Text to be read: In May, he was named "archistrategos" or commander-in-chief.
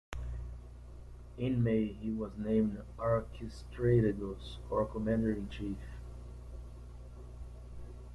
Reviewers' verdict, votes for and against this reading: accepted, 2, 1